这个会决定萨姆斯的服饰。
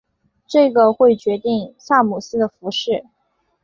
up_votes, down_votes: 3, 0